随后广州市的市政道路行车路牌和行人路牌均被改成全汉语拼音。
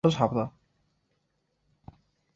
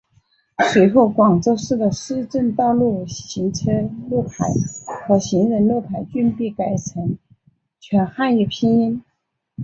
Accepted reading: second